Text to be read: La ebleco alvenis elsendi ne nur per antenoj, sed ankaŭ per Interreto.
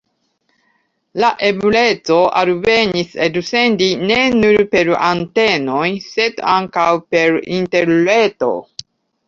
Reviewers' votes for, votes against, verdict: 1, 2, rejected